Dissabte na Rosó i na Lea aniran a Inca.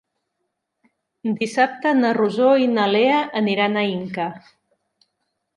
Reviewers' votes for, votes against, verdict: 3, 0, accepted